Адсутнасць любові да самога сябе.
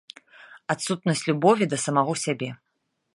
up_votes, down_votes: 0, 2